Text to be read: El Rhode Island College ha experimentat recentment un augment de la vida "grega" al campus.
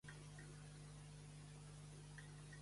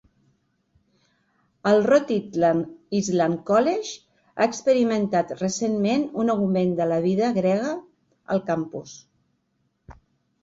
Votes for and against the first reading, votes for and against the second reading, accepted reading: 1, 2, 2, 1, second